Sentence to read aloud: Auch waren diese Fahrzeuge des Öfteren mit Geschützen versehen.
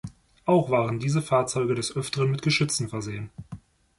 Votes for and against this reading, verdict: 2, 0, accepted